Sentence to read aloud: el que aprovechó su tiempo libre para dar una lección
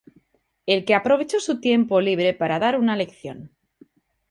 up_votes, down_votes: 2, 0